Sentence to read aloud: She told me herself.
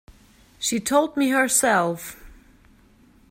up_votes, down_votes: 2, 0